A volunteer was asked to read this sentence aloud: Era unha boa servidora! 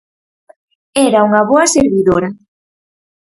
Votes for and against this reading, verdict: 4, 0, accepted